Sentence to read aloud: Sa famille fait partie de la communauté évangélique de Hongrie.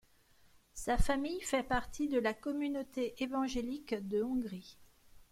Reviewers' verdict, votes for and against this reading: accepted, 2, 0